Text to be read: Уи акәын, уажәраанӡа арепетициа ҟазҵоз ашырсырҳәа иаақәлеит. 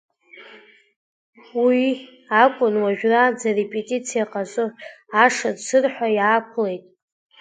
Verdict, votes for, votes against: rejected, 1, 2